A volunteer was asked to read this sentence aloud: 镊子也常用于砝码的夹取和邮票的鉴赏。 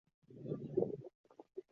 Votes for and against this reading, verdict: 0, 3, rejected